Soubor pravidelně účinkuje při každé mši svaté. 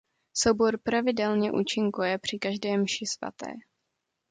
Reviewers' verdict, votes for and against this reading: accepted, 2, 0